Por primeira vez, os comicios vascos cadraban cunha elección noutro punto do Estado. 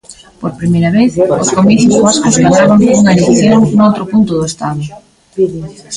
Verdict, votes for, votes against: rejected, 0, 2